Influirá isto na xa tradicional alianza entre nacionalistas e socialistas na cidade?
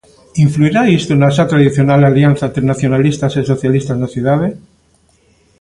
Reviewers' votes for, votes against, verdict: 2, 0, accepted